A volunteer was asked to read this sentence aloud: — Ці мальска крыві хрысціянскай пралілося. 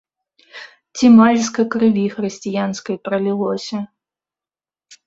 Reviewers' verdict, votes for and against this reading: rejected, 1, 2